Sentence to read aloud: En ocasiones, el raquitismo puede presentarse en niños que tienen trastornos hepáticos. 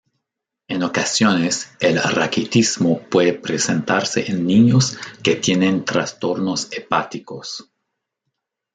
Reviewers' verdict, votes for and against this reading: accepted, 2, 1